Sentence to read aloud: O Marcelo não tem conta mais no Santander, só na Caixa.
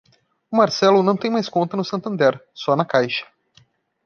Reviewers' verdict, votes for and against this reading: rejected, 1, 2